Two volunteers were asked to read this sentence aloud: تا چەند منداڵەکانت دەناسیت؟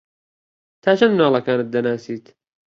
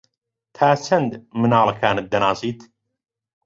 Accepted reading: first